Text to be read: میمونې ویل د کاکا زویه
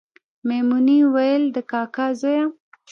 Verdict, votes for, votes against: rejected, 0, 2